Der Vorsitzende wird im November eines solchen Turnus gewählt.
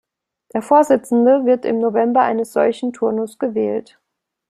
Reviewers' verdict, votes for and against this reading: accepted, 2, 0